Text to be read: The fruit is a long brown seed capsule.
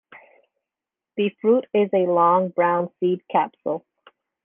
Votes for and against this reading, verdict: 2, 0, accepted